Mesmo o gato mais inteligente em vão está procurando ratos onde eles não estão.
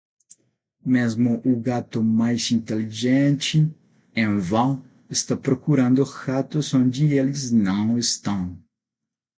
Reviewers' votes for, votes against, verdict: 0, 6, rejected